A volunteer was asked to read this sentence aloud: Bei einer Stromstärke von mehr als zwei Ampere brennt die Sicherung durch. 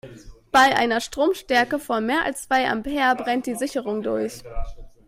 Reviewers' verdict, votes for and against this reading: rejected, 1, 2